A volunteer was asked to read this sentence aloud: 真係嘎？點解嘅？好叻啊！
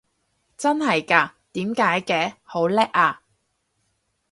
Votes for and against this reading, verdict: 4, 0, accepted